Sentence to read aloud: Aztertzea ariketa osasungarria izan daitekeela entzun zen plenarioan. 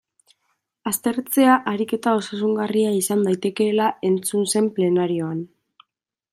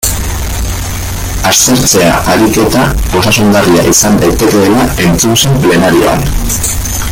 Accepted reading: first